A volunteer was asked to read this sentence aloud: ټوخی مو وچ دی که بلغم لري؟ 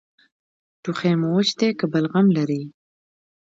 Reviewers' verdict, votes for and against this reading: accepted, 3, 0